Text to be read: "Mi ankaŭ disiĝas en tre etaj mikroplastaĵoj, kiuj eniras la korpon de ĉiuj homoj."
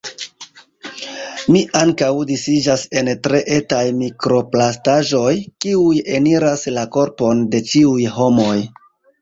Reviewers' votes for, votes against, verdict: 2, 1, accepted